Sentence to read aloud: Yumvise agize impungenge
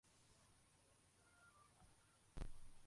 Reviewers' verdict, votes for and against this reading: rejected, 0, 2